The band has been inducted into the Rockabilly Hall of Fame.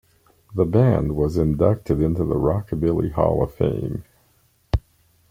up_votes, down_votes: 1, 2